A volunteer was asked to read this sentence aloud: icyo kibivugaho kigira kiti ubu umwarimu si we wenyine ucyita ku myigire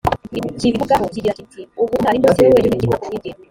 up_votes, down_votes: 0, 2